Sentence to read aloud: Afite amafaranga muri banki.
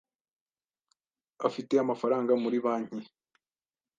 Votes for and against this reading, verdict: 2, 0, accepted